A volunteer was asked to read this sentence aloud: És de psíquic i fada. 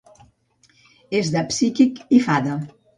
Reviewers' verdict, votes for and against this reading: accepted, 2, 0